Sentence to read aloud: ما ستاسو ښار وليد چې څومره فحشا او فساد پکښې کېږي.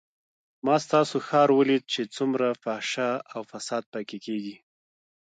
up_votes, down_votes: 2, 0